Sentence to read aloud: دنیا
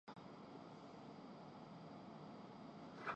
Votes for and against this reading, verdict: 0, 2, rejected